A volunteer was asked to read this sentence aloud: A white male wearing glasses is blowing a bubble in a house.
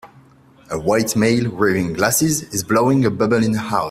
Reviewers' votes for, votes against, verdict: 1, 2, rejected